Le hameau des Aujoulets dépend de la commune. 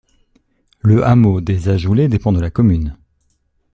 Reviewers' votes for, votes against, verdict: 0, 2, rejected